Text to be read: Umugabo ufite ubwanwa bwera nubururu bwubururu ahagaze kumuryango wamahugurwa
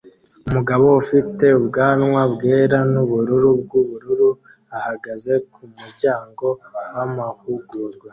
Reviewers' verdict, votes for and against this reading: accepted, 2, 0